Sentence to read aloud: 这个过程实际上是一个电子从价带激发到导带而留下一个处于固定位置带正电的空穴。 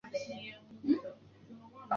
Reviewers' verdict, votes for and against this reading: rejected, 1, 7